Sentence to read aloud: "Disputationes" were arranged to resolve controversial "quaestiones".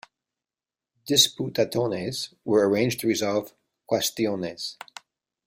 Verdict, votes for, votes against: rejected, 0, 2